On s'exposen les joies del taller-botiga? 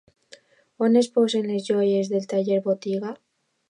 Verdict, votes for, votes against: rejected, 0, 2